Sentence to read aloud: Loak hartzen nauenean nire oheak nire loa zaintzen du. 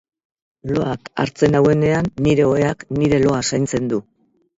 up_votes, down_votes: 2, 0